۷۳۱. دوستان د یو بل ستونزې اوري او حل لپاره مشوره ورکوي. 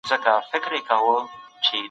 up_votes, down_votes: 0, 2